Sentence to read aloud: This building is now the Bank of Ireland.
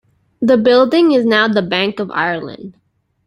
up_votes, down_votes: 0, 2